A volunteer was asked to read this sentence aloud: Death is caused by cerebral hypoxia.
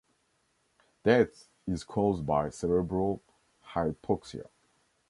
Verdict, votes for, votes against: rejected, 0, 2